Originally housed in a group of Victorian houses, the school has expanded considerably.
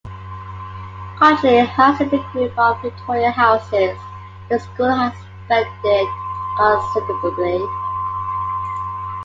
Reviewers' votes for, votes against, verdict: 1, 2, rejected